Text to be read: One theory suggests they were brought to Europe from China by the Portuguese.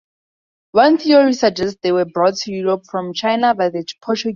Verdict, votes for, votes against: rejected, 0, 2